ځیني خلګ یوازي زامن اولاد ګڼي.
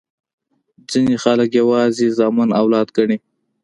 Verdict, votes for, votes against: rejected, 1, 2